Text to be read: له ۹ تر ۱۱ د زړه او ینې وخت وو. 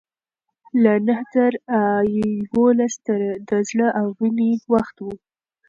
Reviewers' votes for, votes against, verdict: 0, 2, rejected